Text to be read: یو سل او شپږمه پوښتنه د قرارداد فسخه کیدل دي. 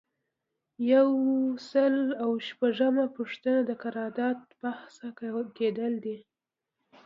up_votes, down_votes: 2, 1